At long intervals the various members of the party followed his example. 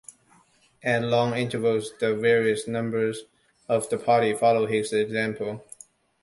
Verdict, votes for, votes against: rejected, 0, 2